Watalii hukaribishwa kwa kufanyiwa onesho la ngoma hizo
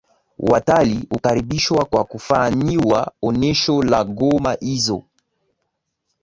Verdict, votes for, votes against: accepted, 2, 0